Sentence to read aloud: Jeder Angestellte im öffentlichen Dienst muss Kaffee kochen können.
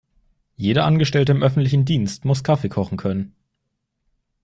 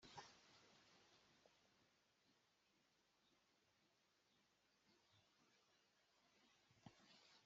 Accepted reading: first